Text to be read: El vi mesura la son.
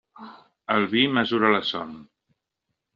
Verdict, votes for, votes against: accepted, 3, 0